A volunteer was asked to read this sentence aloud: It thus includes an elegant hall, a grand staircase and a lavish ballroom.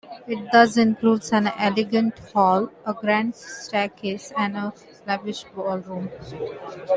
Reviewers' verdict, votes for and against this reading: rejected, 1, 2